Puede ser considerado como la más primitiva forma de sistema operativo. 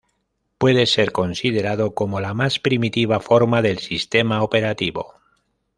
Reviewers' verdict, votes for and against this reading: rejected, 0, 2